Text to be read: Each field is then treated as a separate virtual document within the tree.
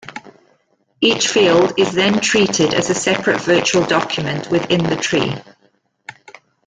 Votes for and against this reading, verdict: 2, 0, accepted